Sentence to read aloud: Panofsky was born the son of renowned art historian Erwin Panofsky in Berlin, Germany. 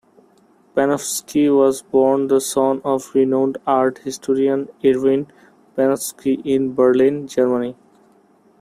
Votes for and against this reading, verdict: 2, 0, accepted